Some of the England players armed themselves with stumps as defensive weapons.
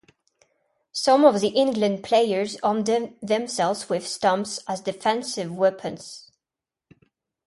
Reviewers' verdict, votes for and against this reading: rejected, 0, 2